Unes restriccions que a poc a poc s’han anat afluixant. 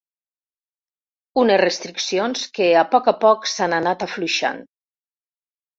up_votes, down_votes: 3, 0